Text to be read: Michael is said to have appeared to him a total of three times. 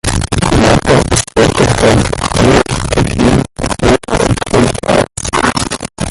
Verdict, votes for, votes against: rejected, 0, 2